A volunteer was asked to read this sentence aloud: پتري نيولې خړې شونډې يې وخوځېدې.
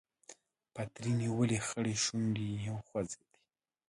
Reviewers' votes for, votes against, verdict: 2, 0, accepted